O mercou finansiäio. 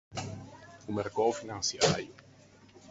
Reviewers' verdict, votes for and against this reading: rejected, 2, 4